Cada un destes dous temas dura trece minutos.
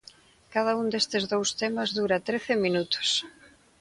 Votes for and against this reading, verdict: 2, 0, accepted